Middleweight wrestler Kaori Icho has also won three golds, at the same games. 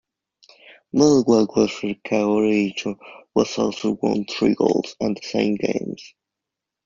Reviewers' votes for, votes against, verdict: 2, 1, accepted